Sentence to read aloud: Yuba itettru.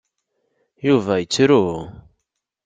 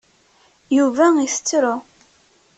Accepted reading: second